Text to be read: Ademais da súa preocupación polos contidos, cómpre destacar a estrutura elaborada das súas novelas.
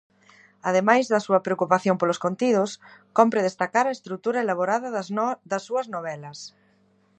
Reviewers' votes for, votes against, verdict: 0, 2, rejected